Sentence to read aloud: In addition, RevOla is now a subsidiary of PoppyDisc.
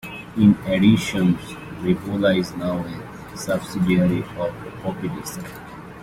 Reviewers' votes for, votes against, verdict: 2, 0, accepted